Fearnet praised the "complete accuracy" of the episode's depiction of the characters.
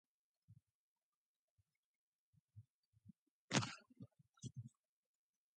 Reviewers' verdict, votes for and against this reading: rejected, 0, 2